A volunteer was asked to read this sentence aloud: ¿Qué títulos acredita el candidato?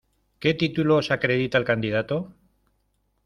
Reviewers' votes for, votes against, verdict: 2, 0, accepted